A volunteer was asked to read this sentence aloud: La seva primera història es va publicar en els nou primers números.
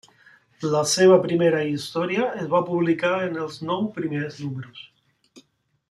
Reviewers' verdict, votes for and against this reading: rejected, 0, 2